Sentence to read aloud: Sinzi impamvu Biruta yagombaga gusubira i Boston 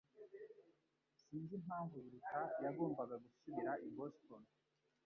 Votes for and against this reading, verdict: 1, 2, rejected